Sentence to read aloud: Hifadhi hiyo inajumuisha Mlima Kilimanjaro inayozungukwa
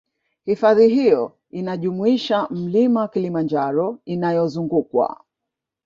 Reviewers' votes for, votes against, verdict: 0, 2, rejected